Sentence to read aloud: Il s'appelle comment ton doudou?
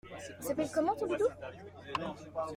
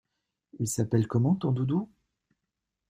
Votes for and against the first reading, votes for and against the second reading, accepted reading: 1, 2, 2, 0, second